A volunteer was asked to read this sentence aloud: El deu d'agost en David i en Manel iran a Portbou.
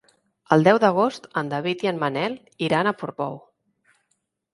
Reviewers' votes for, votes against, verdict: 3, 0, accepted